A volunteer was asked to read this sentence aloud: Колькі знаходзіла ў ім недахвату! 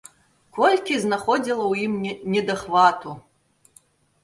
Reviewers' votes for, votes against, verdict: 0, 3, rejected